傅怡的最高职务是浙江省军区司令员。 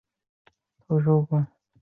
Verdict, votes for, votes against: accepted, 3, 1